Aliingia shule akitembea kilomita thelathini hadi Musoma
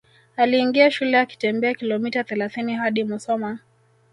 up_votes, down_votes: 1, 2